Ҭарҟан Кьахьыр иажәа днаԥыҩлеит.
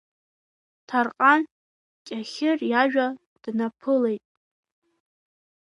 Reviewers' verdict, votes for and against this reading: rejected, 0, 2